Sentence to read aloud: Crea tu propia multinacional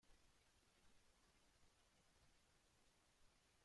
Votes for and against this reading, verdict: 0, 2, rejected